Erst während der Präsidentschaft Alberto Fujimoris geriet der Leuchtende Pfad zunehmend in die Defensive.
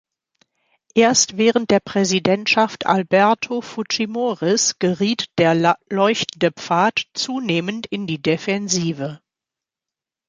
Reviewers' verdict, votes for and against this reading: rejected, 1, 2